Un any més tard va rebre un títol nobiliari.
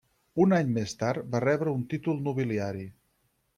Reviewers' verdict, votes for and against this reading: accepted, 6, 0